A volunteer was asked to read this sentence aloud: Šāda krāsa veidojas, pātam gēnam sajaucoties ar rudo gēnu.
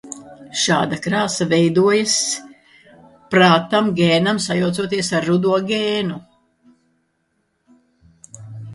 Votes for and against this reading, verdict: 1, 2, rejected